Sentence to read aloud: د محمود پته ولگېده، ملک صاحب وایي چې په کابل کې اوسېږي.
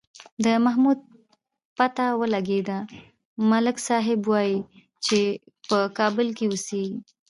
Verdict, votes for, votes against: rejected, 0, 2